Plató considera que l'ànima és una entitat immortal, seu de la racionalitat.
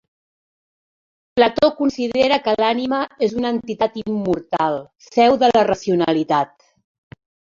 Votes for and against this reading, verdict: 0, 2, rejected